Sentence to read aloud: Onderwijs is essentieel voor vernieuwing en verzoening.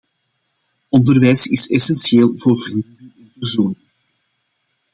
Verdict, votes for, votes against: rejected, 0, 2